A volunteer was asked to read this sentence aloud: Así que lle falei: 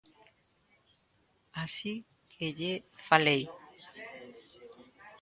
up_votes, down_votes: 0, 2